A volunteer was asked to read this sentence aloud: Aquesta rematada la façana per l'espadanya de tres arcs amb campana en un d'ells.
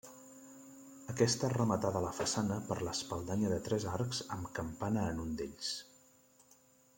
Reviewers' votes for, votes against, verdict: 1, 2, rejected